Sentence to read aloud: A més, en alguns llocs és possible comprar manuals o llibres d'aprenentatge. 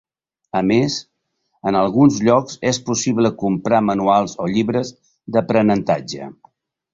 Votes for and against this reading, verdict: 3, 0, accepted